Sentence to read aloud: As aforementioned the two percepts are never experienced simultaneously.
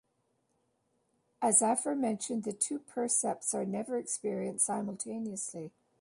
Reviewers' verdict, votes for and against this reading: accepted, 2, 1